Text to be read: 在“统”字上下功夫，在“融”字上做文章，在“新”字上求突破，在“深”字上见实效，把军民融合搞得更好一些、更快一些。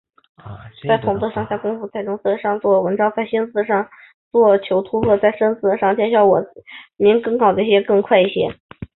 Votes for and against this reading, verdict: 4, 2, accepted